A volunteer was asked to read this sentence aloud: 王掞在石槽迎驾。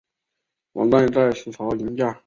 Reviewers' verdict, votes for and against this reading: rejected, 0, 4